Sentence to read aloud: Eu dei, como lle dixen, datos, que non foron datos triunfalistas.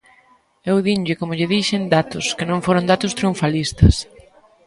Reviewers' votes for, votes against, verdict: 0, 2, rejected